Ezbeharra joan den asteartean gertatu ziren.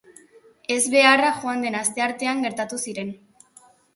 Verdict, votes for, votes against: accepted, 2, 0